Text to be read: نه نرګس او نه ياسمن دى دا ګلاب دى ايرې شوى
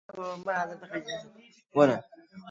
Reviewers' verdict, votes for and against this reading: rejected, 0, 2